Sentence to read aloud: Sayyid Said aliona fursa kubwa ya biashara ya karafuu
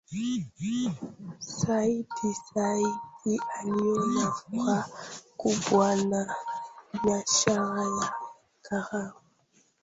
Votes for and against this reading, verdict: 0, 2, rejected